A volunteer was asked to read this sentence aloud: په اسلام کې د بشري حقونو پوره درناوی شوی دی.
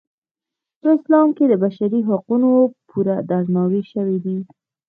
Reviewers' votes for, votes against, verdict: 2, 0, accepted